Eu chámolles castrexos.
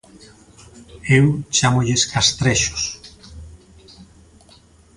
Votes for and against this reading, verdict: 2, 0, accepted